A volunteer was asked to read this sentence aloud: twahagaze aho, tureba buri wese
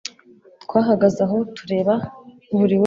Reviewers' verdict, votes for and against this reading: rejected, 0, 2